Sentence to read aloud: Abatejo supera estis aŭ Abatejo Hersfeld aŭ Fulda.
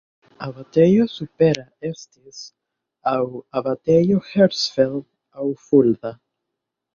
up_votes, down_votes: 0, 2